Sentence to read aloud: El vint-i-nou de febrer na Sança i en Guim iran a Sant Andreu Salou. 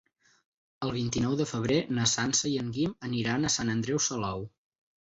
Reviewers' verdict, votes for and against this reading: rejected, 2, 4